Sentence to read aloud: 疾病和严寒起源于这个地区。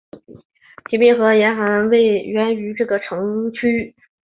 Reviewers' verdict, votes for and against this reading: accepted, 3, 2